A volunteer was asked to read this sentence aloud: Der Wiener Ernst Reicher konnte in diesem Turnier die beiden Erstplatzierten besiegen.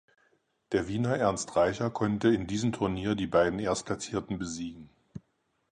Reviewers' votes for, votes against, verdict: 4, 0, accepted